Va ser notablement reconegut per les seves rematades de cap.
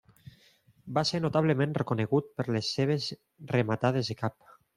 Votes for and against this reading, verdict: 2, 0, accepted